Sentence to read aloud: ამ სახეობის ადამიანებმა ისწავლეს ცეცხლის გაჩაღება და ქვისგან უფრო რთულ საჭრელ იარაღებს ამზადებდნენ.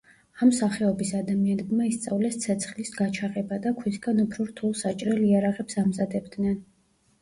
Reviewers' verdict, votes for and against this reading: accepted, 2, 1